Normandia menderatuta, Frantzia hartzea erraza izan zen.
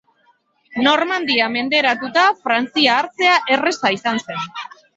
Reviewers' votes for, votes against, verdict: 4, 3, accepted